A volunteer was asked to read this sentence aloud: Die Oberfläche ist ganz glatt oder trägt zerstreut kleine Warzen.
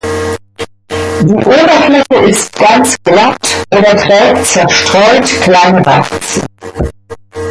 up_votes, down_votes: 0, 2